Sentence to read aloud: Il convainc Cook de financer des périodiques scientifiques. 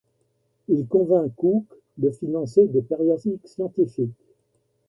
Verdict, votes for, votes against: rejected, 0, 2